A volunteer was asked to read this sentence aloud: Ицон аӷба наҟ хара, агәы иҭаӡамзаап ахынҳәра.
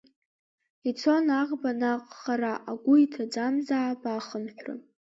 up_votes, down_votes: 2, 1